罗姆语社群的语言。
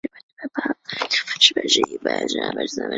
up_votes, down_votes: 2, 0